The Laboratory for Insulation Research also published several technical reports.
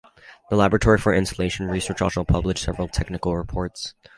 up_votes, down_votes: 2, 2